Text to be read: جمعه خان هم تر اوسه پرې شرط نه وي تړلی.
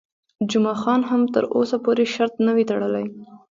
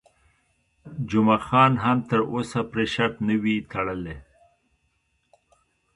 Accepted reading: second